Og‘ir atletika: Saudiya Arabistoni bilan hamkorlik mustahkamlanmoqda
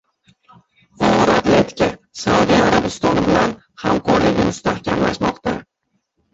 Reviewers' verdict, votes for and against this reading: rejected, 0, 2